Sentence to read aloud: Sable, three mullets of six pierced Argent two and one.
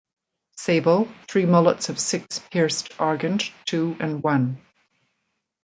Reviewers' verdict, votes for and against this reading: accepted, 2, 0